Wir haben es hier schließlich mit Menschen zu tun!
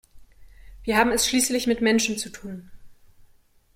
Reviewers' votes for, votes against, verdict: 0, 2, rejected